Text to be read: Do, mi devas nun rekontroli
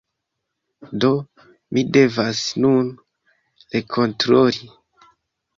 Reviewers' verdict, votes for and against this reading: accepted, 2, 0